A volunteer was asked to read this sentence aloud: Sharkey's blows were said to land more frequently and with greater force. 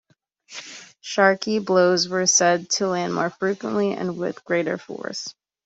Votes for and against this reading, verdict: 2, 1, accepted